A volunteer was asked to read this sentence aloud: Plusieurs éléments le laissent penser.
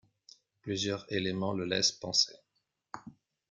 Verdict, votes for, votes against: rejected, 0, 2